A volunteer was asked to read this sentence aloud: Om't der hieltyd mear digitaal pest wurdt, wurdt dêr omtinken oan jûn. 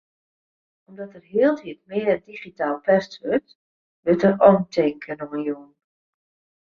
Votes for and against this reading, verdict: 2, 0, accepted